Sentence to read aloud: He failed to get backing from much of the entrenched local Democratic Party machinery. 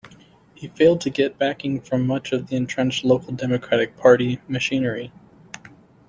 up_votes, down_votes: 2, 0